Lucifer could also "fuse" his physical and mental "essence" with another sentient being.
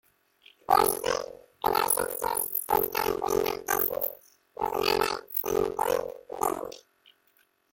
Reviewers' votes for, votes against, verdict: 0, 2, rejected